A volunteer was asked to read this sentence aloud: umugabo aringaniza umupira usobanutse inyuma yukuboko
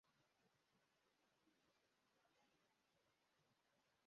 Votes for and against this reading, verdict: 0, 2, rejected